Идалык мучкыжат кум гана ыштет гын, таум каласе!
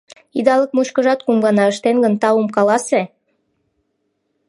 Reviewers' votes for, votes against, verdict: 0, 2, rejected